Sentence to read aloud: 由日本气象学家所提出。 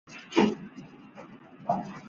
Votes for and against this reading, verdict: 0, 2, rejected